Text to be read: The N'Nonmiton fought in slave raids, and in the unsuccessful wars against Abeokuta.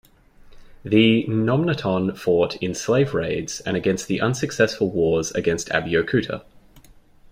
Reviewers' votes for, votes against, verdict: 2, 0, accepted